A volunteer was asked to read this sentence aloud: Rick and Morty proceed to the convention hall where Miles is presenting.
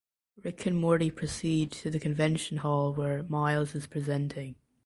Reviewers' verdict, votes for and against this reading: accepted, 2, 1